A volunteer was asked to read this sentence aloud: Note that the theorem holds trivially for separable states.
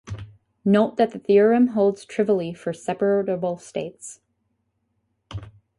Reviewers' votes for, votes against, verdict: 2, 2, rejected